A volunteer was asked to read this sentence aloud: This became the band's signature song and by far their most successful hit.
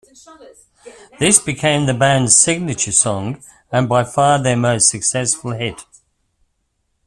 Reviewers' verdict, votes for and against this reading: accepted, 2, 0